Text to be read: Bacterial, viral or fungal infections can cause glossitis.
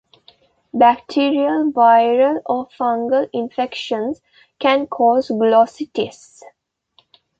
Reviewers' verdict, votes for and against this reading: accepted, 2, 1